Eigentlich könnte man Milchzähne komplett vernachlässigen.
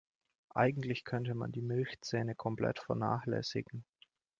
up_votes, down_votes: 0, 2